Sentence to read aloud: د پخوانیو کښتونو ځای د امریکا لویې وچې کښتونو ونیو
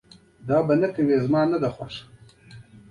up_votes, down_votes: 1, 2